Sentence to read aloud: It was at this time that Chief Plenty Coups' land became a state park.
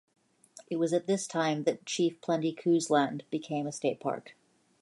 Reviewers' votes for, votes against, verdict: 2, 1, accepted